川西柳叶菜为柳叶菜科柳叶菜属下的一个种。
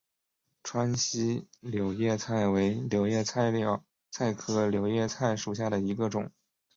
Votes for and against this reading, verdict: 2, 0, accepted